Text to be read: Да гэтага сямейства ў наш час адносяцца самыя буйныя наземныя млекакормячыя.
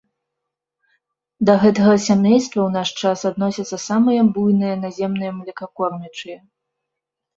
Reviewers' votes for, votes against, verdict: 0, 2, rejected